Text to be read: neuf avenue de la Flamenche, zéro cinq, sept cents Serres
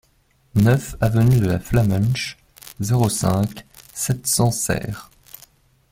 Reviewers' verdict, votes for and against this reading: rejected, 1, 2